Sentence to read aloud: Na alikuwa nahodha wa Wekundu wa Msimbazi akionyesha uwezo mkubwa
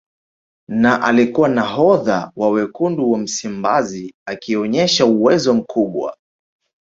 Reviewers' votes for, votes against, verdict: 5, 1, accepted